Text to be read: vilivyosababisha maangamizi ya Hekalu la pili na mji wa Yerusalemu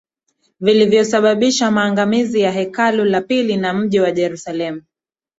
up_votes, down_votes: 2, 0